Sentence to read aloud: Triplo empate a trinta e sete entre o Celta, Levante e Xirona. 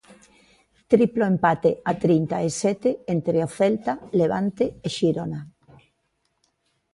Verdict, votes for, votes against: accepted, 2, 0